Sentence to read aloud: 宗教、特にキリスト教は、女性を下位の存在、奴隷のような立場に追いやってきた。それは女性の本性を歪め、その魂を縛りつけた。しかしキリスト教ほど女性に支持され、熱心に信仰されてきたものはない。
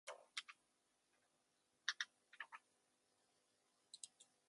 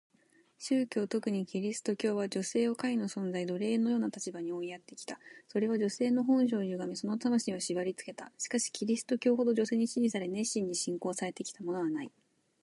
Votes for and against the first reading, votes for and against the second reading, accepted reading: 0, 2, 2, 1, second